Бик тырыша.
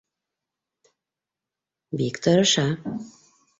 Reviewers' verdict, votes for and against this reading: accepted, 2, 0